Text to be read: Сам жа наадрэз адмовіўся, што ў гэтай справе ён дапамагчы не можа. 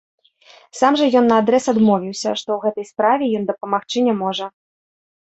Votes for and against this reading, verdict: 1, 2, rejected